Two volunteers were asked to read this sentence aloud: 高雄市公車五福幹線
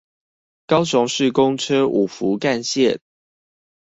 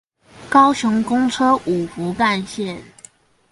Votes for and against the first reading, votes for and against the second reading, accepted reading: 2, 0, 2, 4, first